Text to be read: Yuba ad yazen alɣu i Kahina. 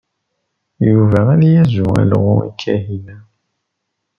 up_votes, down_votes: 0, 2